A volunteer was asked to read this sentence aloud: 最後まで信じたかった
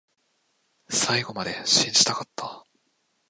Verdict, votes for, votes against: accepted, 2, 0